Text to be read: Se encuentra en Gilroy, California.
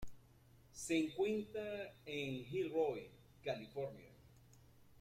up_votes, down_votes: 0, 2